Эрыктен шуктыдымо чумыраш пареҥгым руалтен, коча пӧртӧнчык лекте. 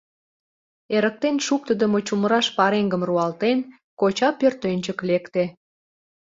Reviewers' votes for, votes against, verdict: 2, 0, accepted